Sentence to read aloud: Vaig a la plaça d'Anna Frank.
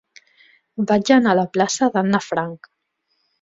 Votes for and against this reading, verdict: 1, 2, rejected